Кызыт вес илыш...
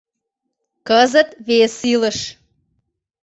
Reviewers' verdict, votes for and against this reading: accepted, 2, 0